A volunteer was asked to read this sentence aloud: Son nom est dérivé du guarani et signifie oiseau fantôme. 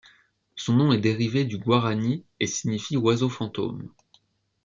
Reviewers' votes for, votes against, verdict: 2, 0, accepted